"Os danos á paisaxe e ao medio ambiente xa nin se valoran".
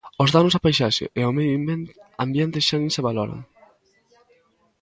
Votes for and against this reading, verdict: 0, 2, rejected